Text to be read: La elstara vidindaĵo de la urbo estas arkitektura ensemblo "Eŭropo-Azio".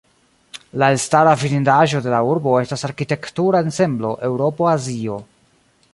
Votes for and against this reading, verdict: 0, 2, rejected